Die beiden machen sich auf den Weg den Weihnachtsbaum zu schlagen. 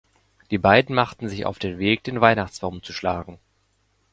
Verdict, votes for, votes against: rejected, 0, 2